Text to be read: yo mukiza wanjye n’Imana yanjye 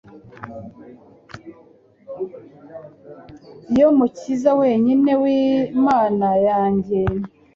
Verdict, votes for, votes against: rejected, 1, 2